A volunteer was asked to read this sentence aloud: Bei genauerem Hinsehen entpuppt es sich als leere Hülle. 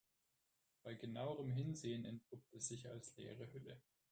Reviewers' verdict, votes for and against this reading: rejected, 0, 2